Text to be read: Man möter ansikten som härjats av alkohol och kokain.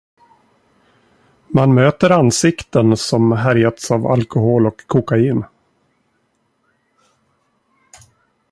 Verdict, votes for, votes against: accepted, 2, 0